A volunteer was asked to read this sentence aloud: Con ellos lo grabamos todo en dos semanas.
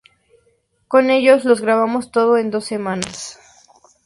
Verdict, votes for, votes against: accepted, 2, 0